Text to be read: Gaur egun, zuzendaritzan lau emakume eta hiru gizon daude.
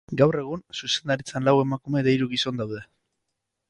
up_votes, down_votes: 4, 0